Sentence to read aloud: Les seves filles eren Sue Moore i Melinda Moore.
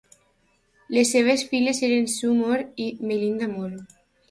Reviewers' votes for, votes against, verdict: 2, 0, accepted